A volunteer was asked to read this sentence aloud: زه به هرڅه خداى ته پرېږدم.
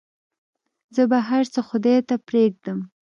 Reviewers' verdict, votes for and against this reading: accepted, 2, 0